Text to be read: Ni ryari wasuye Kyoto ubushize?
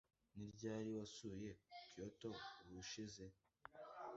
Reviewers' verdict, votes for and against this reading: accepted, 2, 0